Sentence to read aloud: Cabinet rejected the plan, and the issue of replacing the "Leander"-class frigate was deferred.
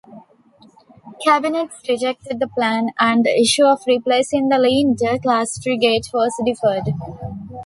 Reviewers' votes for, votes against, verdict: 1, 2, rejected